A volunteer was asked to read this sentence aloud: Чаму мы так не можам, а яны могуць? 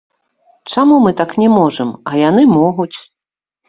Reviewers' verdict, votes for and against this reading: rejected, 1, 2